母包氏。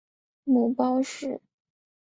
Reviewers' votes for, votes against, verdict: 3, 0, accepted